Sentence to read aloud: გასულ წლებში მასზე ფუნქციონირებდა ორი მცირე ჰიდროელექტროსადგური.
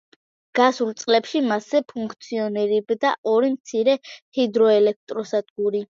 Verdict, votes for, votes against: accepted, 2, 0